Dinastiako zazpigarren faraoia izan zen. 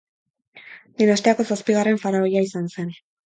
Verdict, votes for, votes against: accepted, 12, 0